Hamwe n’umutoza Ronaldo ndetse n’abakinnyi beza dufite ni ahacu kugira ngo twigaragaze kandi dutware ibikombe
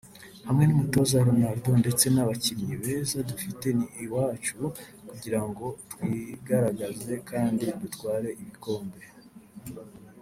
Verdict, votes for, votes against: accepted, 2, 1